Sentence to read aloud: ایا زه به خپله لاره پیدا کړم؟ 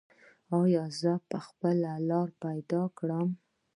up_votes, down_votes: 2, 0